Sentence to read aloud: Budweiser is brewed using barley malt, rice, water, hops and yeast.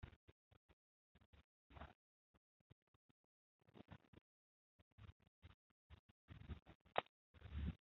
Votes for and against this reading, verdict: 0, 2, rejected